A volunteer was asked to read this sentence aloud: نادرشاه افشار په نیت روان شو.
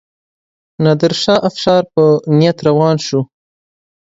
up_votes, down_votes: 2, 0